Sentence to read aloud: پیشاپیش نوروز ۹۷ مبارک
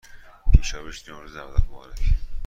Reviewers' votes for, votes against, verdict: 0, 2, rejected